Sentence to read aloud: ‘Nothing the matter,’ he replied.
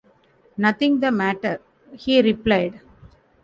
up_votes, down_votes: 2, 0